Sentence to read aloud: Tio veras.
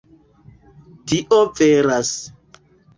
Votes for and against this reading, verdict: 2, 1, accepted